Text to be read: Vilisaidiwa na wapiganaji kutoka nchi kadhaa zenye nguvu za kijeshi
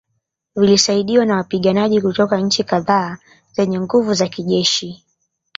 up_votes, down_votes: 2, 0